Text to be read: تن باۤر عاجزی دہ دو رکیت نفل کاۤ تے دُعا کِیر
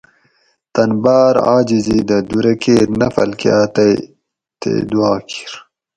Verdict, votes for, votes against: rejected, 2, 4